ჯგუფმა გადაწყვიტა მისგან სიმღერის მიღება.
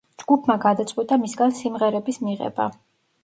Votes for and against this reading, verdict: 1, 2, rejected